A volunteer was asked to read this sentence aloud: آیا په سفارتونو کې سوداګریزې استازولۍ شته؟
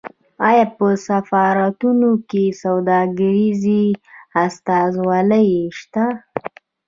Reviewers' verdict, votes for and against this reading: rejected, 1, 2